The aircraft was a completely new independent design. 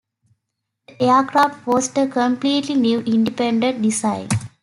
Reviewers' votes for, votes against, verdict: 0, 2, rejected